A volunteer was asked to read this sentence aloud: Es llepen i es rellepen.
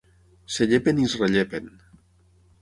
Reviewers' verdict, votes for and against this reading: rejected, 3, 6